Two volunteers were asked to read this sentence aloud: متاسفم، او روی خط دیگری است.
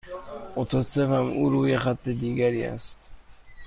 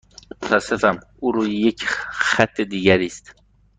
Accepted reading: first